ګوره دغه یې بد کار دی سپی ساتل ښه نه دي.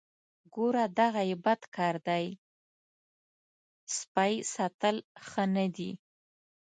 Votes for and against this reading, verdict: 2, 0, accepted